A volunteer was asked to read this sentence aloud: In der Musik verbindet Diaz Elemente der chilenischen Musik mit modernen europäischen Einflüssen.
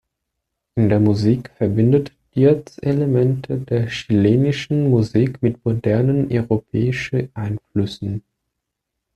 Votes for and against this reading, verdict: 0, 2, rejected